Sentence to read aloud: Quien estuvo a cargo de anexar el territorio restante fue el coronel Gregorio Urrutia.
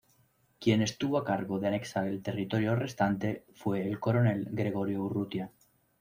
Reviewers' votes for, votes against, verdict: 2, 0, accepted